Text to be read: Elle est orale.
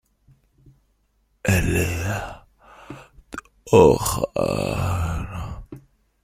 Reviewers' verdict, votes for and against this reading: rejected, 0, 2